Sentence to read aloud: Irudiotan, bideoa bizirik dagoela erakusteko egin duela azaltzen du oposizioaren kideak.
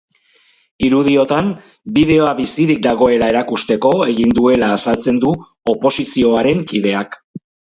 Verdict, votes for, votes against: rejected, 2, 2